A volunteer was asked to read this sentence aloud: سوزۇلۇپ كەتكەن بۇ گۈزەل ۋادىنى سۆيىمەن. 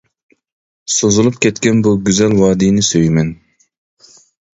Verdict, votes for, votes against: accepted, 2, 0